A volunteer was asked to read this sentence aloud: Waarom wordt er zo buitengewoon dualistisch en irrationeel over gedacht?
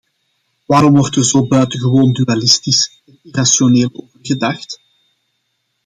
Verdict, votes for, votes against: rejected, 0, 2